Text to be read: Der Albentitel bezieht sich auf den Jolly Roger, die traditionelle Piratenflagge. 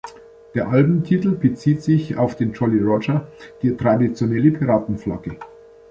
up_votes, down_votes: 1, 2